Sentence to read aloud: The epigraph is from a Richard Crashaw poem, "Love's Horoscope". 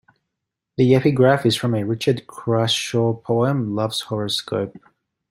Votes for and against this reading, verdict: 2, 0, accepted